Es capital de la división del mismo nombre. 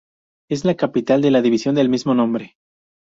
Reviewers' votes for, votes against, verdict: 0, 2, rejected